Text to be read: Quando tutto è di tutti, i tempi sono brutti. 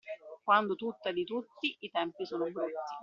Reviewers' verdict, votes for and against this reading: accepted, 2, 0